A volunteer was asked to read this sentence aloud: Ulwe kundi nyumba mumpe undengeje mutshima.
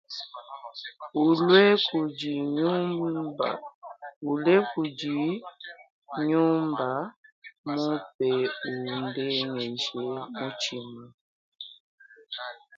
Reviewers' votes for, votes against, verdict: 0, 2, rejected